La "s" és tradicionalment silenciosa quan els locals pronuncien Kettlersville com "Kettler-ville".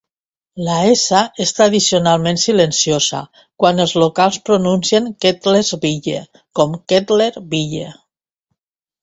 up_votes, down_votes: 1, 2